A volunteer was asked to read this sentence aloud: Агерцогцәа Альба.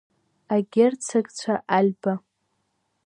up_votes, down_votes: 2, 0